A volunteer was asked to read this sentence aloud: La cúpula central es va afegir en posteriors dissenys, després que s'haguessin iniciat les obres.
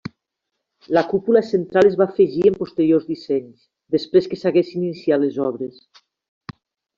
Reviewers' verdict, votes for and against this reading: rejected, 1, 2